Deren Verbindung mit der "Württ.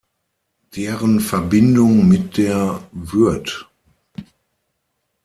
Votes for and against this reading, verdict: 0, 6, rejected